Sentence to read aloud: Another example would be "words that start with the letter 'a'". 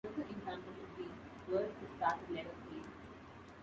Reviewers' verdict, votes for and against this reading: rejected, 1, 2